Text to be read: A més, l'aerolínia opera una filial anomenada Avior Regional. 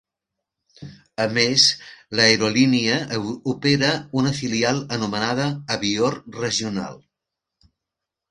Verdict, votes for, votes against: rejected, 0, 2